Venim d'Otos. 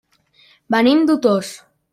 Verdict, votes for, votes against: rejected, 0, 2